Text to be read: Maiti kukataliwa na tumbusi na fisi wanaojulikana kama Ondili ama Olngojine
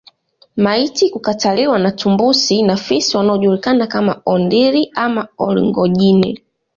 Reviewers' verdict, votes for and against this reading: accepted, 2, 1